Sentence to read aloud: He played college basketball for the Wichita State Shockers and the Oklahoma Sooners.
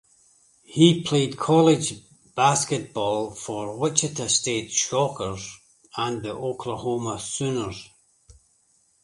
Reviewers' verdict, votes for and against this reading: rejected, 0, 2